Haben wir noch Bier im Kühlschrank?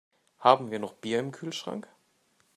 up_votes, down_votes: 2, 0